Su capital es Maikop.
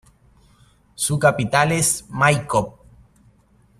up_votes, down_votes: 2, 0